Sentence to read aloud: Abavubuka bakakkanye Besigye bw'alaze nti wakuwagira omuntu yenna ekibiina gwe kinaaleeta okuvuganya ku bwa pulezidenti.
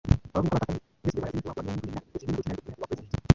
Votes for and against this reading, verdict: 0, 2, rejected